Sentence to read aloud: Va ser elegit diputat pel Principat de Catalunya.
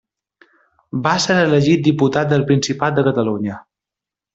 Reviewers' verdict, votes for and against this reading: rejected, 0, 2